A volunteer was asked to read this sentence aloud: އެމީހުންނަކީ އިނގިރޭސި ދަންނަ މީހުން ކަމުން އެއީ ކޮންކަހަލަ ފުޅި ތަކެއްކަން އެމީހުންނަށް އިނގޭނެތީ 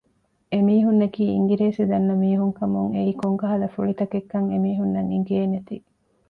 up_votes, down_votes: 2, 0